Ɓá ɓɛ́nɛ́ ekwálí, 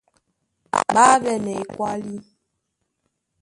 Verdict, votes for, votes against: rejected, 1, 2